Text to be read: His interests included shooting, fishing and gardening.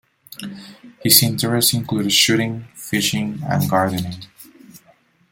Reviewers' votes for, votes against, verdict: 2, 0, accepted